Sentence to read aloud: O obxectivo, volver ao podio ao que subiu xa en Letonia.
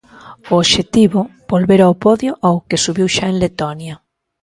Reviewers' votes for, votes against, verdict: 3, 0, accepted